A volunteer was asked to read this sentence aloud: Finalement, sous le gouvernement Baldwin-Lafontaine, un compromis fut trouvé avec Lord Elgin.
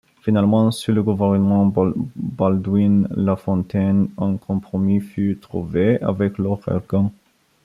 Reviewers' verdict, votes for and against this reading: accepted, 2, 1